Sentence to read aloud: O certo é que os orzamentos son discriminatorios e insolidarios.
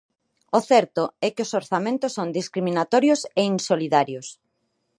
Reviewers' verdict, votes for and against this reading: accepted, 4, 0